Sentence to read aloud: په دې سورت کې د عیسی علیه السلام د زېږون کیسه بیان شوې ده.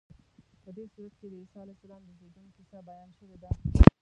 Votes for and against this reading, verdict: 0, 2, rejected